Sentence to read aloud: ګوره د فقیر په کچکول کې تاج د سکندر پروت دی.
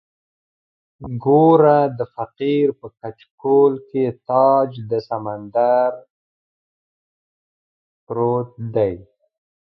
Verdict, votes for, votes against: rejected, 1, 2